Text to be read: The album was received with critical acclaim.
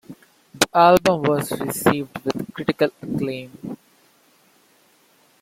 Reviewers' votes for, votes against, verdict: 0, 2, rejected